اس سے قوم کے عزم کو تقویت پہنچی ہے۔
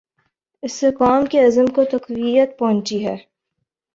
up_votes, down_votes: 10, 0